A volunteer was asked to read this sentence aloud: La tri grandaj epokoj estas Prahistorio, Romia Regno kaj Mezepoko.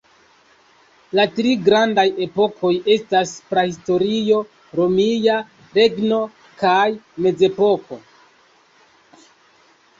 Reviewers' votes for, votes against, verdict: 2, 0, accepted